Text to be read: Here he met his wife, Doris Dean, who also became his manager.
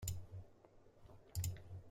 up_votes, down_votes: 0, 2